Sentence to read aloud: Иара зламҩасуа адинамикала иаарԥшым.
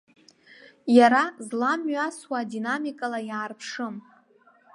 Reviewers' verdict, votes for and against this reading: accepted, 2, 0